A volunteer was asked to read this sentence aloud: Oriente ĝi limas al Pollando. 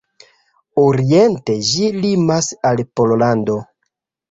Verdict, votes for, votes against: accepted, 2, 0